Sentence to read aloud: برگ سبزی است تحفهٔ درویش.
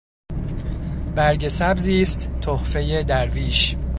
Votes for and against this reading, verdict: 2, 0, accepted